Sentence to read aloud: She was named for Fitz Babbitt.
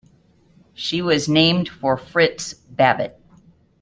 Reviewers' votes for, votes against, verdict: 0, 2, rejected